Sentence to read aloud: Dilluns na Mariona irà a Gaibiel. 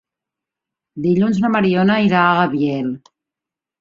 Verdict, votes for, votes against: rejected, 1, 3